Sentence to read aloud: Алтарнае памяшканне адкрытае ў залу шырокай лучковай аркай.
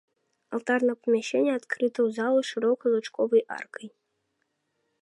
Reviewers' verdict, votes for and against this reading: rejected, 1, 2